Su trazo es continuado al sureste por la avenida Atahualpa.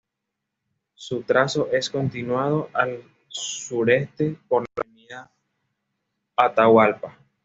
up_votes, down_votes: 3, 1